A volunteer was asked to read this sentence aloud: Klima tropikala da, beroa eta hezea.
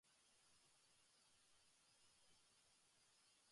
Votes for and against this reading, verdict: 0, 3, rejected